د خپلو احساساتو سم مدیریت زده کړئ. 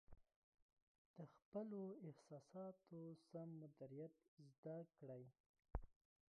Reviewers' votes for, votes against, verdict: 0, 2, rejected